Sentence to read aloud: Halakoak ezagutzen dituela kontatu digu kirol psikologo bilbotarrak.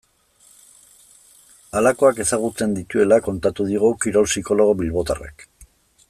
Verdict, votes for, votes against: rejected, 1, 2